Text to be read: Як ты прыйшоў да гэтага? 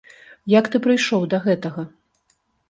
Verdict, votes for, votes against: accepted, 2, 0